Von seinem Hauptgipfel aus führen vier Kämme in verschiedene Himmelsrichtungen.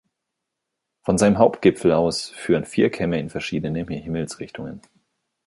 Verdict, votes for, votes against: rejected, 0, 2